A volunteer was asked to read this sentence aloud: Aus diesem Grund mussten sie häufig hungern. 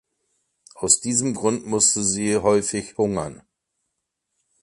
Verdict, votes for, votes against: rejected, 1, 2